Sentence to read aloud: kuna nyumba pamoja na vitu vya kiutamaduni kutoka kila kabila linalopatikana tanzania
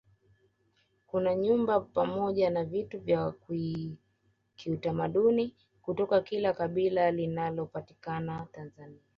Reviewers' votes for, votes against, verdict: 2, 0, accepted